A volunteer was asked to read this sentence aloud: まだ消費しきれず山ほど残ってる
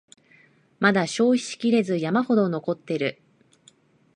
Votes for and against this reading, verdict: 2, 0, accepted